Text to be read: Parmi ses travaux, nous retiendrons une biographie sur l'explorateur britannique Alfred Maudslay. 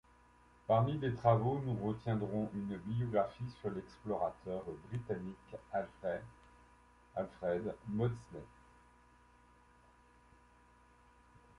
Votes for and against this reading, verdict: 1, 2, rejected